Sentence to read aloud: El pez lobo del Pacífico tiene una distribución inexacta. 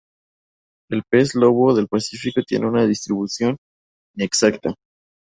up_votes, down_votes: 0, 2